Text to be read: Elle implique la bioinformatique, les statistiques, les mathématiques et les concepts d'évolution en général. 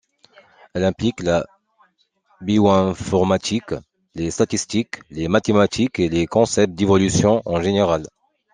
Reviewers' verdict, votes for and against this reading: accepted, 2, 0